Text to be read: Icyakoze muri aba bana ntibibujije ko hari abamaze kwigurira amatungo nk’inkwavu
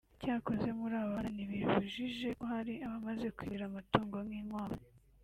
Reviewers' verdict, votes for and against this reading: rejected, 0, 2